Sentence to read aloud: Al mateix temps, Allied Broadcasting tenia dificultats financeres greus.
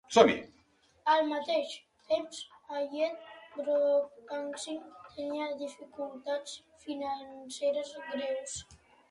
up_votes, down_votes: 1, 2